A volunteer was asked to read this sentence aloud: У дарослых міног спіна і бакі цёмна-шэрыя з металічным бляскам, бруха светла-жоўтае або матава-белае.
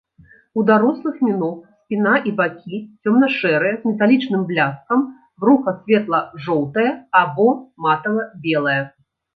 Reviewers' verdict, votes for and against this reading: accepted, 2, 0